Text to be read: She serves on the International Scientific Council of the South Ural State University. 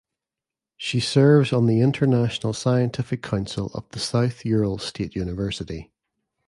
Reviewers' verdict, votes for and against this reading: accepted, 2, 0